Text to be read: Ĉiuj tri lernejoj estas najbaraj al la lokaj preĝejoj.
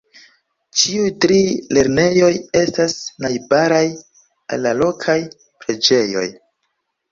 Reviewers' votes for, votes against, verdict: 3, 0, accepted